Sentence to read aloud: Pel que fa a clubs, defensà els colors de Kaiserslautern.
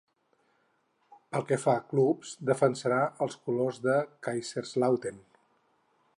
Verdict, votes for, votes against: rejected, 2, 4